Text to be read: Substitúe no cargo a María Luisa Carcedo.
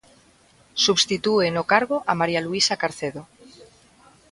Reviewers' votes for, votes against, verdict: 0, 2, rejected